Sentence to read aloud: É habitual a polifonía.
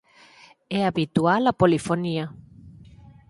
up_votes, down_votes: 0, 4